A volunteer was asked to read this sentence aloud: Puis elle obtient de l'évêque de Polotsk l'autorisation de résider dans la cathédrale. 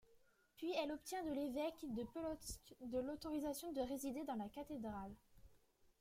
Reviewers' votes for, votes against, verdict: 0, 2, rejected